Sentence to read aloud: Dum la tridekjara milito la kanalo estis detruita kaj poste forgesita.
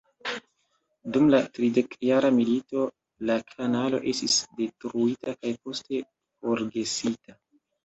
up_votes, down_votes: 2, 0